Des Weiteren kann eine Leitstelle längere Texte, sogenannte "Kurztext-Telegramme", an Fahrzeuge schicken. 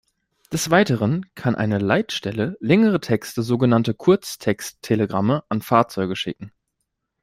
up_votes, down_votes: 2, 0